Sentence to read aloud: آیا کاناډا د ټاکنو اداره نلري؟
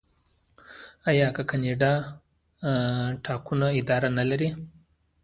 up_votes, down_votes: 1, 2